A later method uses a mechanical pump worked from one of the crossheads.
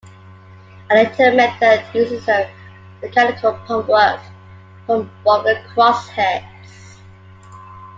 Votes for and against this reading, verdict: 0, 2, rejected